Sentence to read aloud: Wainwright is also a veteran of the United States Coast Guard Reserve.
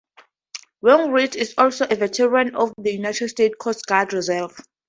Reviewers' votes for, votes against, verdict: 2, 0, accepted